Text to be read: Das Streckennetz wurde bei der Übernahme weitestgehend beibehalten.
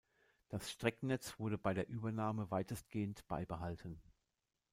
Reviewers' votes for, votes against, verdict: 0, 2, rejected